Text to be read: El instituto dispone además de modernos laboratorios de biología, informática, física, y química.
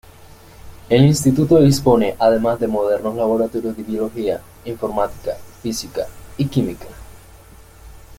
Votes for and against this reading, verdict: 2, 0, accepted